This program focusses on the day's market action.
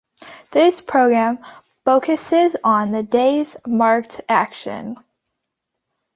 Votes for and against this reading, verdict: 1, 2, rejected